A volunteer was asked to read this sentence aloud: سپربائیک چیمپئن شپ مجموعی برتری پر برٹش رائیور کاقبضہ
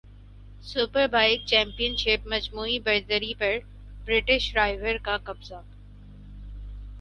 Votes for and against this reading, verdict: 4, 0, accepted